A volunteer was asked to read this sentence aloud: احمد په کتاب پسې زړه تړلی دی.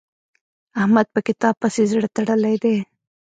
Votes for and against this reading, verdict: 2, 0, accepted